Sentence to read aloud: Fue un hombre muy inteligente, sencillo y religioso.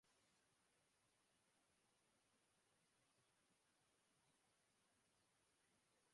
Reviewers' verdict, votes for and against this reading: rejected, 0, 2